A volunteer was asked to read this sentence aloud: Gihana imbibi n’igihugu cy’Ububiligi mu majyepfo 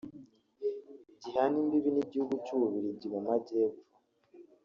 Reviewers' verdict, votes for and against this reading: rejected, 0, 2